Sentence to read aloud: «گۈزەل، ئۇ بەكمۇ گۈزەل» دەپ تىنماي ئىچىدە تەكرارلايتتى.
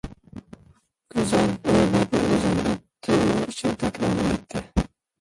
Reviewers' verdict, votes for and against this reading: rejected, 0, 2